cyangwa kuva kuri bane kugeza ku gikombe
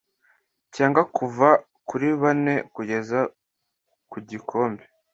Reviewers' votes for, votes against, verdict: 2, 0, accepted